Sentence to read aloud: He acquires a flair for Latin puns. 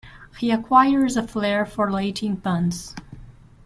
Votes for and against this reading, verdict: 1, 2, rejected